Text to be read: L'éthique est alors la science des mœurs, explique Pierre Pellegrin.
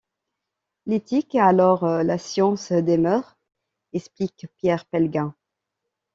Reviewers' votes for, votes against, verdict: 1, 2, rejected